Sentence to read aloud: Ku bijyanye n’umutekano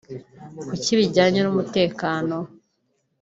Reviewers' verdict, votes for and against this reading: rejected, 2, 4